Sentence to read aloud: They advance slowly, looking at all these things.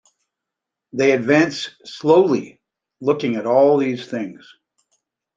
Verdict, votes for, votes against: accepted, 2, 0